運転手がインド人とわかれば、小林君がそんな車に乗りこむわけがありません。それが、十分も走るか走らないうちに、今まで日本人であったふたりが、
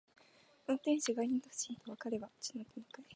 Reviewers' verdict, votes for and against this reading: rejected, 0, 2